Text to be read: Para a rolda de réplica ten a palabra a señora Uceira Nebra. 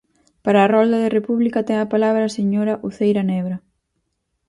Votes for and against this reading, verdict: 2, 4, rejected